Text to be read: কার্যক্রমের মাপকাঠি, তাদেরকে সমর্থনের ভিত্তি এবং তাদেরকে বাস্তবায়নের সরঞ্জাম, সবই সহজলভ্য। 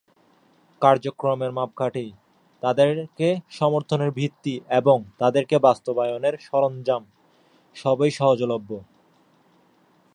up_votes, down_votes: 0, 2